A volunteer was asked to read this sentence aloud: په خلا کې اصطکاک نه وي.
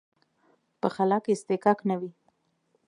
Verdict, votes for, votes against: accepted, 2, 0